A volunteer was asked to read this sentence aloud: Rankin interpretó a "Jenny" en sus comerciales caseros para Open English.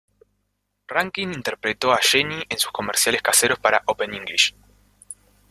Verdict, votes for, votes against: rejected, 0, 2